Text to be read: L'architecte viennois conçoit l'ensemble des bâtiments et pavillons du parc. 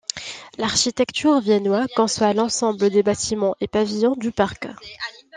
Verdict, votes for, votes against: rejected, 0, 2